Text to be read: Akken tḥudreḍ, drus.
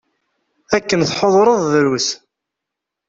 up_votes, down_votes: 2, 0